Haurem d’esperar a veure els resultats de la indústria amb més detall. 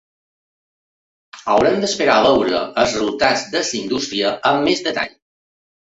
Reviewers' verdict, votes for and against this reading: rejected, 1, 2